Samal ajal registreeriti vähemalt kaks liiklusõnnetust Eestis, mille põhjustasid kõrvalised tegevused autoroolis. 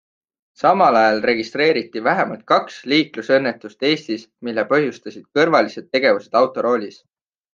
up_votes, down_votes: 4, 0